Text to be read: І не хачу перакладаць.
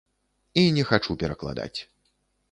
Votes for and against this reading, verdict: 2, 0, accepted